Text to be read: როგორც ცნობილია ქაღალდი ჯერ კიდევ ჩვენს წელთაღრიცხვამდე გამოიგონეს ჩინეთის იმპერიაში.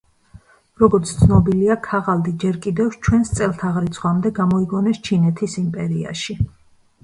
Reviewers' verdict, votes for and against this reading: accepted, 2, 0